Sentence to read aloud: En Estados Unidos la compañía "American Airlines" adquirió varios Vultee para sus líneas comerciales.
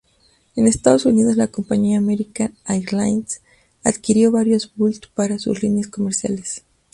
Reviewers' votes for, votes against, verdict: 2, 0, accepted